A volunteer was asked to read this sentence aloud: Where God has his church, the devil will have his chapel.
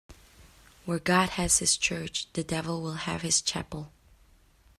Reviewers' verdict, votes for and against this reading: accepted, 2, 0